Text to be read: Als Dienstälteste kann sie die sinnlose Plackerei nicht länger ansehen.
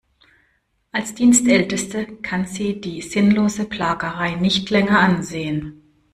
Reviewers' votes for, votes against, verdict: 0, 2, rejected